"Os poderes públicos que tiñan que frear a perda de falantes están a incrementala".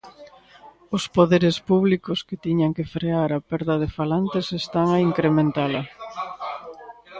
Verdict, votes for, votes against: accepted, 2, 1